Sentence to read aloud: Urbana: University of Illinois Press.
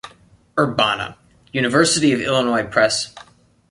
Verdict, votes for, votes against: accepted, 2, 0